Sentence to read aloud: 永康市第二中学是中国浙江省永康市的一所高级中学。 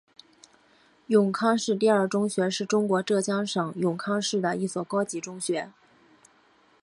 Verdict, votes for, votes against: accepted, 3, 0